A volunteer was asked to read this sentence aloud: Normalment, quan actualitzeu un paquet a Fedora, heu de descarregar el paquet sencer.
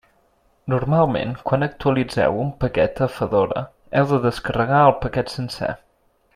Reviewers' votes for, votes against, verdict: 2, 0, accepted